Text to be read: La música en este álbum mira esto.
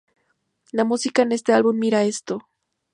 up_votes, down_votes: 0, 2